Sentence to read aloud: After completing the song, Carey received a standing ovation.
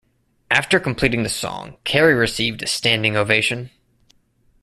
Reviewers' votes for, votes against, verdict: 2, 1, accepted